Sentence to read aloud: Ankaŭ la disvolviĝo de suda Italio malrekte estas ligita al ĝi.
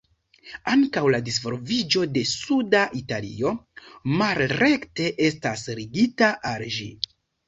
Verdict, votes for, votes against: rejected, 1, 2